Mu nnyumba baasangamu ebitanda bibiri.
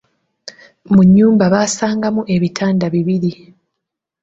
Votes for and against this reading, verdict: 2, 0, accepted